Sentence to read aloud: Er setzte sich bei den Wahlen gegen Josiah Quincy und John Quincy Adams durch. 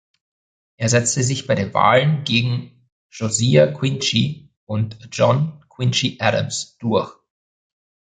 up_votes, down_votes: 1, 2